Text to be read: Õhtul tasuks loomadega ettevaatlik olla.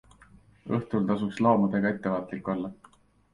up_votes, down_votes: 2, 0